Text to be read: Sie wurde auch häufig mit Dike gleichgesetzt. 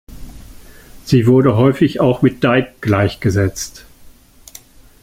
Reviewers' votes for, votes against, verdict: 0, 2, rejected